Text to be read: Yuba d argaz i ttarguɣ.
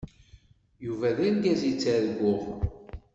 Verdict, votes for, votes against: accepted, 2, 0